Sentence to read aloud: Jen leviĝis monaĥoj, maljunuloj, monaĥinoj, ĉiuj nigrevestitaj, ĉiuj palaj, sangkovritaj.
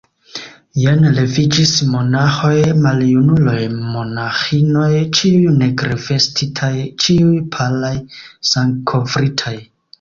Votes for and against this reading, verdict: 2, 1, accepted